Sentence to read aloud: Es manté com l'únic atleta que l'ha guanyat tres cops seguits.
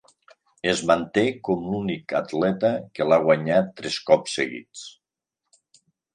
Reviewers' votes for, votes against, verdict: 4, 0, accepted